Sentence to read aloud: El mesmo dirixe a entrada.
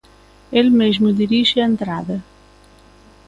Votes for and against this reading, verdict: 2, 0, accepted